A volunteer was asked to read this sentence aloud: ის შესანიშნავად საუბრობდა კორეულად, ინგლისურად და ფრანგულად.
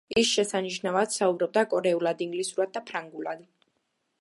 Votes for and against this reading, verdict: 2, 0, accepted